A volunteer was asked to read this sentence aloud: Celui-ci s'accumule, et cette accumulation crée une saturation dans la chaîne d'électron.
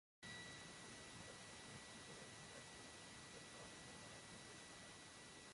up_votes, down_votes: 0, 2